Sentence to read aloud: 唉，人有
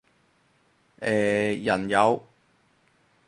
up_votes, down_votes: 2, 2